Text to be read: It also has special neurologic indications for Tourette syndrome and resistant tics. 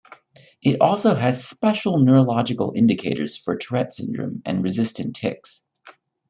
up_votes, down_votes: 1, 2